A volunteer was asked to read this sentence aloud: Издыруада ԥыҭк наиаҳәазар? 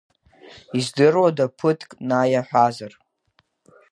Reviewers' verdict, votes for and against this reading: rejected, 1, 3